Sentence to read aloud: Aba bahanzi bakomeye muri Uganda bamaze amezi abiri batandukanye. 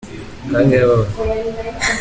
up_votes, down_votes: 0, 3